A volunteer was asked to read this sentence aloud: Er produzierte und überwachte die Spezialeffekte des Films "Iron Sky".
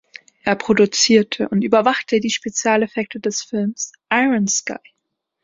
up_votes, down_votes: 2, 0